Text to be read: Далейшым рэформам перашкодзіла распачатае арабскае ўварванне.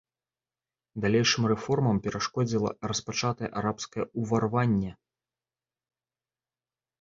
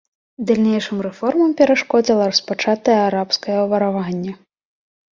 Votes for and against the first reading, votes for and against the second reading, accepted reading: 3, 0, 1, 2, first